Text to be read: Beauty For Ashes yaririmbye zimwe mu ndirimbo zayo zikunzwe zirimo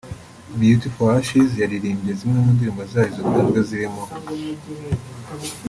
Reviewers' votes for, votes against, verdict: 2, 0, accepted